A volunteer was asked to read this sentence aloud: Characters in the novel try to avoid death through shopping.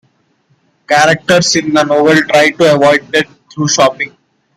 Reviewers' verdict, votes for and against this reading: accepted, 2, 0